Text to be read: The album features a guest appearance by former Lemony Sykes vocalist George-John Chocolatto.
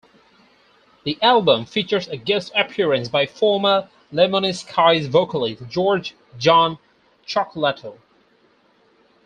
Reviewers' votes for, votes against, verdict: 0, 4, rejected